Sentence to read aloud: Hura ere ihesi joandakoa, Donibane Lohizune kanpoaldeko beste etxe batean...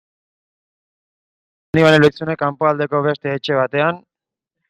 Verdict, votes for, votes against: rejected, 0, 2